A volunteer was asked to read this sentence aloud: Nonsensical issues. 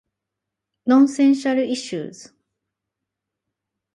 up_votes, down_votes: 4, 0